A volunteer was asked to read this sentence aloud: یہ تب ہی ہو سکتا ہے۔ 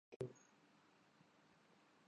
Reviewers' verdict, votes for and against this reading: rejected, 0, 2